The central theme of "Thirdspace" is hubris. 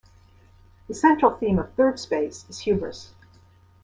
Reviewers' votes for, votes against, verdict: 2, 0, accepted